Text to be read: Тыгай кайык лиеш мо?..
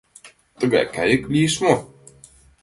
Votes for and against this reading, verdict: 2, 0, accepted